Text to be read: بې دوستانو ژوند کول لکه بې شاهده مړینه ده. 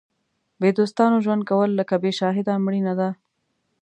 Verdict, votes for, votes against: accepted, 2, 0